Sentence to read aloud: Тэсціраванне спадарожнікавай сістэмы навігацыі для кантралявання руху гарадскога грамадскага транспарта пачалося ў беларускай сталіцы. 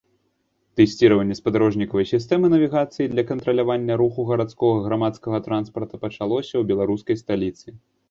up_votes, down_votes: 2, 0